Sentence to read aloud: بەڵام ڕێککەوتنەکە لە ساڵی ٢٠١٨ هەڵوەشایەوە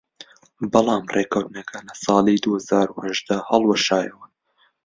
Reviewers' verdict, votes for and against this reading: rejected, 0, 2